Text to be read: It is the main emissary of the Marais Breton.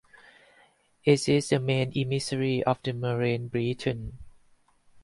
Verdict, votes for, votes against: rejected, 2, 4